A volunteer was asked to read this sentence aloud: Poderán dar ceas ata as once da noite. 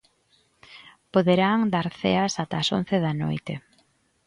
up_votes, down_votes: 2, 0